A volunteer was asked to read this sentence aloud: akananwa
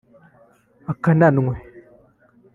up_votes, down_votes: 1, 2